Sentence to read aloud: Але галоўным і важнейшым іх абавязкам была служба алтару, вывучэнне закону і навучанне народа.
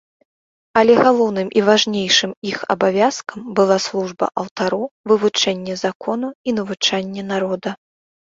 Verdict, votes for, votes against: accepted, 2, 0